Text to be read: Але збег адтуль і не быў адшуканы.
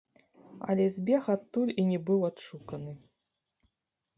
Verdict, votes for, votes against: rejected, 1, 2